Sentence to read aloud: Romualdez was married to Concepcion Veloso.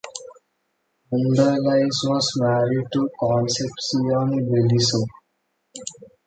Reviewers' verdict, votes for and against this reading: rejected, 1, 2